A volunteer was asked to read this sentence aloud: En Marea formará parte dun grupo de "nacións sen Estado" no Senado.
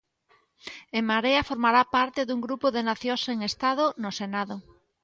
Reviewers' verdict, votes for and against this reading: accepted, 2, 0